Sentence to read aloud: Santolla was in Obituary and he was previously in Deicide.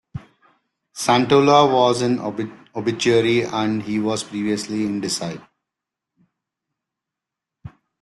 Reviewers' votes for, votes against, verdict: 0, 2, rejected